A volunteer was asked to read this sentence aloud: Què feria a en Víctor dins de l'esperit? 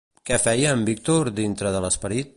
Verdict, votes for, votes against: rejected, 1, 2